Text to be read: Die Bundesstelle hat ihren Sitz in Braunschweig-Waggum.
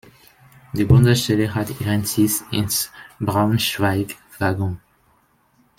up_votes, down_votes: 0, 2